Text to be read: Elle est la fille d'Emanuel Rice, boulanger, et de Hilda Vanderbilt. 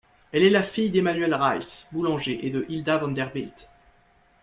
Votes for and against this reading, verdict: 2, 0, accepted